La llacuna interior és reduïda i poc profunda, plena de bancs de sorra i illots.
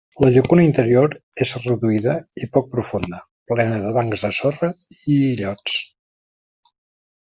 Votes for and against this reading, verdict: 2, 0, accepted